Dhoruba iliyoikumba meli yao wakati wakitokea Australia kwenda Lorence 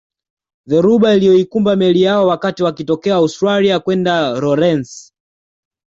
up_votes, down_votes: 2, 0